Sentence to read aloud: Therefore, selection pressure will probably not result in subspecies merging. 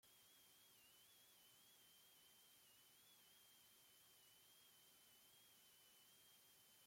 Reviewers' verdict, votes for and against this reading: rejected, 0, 2